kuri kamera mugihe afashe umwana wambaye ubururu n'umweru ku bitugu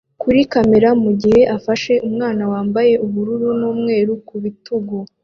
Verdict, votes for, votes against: accepted, 2, 0